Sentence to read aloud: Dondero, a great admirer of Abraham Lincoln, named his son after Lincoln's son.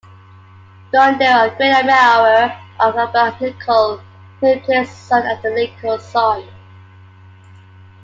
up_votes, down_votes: 2, 1